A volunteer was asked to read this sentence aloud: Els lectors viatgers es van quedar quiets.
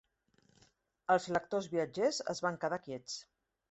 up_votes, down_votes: 3, 0